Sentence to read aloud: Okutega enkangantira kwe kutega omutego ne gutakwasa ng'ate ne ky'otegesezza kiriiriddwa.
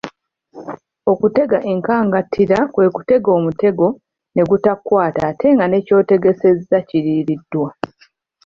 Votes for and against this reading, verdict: 2, 1, accepted